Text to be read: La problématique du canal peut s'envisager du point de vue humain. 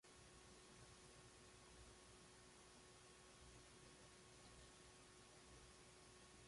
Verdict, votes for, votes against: rejected, 0, 2